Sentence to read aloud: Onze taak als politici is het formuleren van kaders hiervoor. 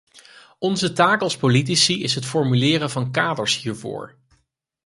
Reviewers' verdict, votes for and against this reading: accepted, 4, 0